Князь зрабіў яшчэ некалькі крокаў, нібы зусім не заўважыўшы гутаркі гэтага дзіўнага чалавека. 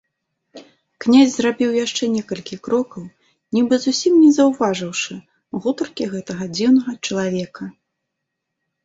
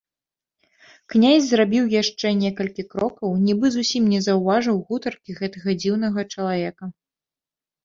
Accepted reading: first